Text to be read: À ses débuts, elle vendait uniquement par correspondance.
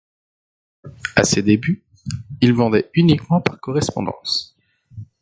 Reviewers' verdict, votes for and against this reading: rejected, 0, 2